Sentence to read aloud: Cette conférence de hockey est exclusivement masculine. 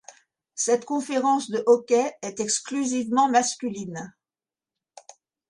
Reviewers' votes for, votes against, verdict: 2, 0, accepted